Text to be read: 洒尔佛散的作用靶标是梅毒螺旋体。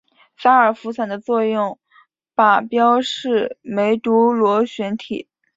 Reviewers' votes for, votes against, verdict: 3, 0, accepted